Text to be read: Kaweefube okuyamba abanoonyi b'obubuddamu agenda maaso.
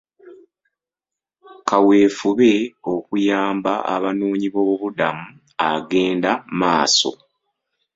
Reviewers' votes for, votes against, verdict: 2, 0, accepted